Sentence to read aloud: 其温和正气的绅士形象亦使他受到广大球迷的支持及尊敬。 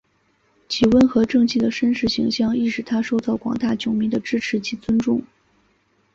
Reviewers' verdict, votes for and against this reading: accepted, 3, 1